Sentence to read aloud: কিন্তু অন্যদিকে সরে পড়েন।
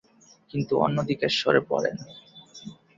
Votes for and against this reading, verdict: 2, 0, accepted